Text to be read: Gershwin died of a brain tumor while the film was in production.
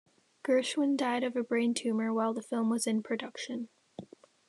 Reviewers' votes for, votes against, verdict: 2, 0, accepted